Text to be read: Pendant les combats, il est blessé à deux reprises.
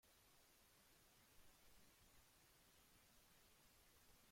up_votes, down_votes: 0, 2